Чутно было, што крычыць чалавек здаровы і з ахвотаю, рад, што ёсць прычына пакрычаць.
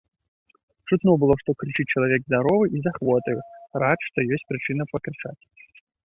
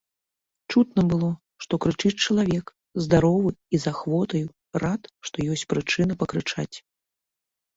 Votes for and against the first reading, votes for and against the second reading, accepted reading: 2, 0, 0, 2, first